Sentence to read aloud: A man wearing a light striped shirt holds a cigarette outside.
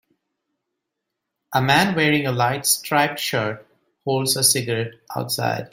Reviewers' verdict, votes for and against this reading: accepted, 2, 0